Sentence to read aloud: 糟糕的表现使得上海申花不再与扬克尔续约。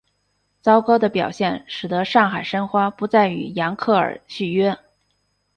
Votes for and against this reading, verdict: 4, 0, accepted